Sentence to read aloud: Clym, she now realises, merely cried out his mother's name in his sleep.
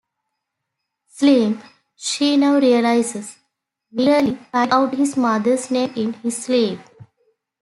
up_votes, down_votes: 1, 2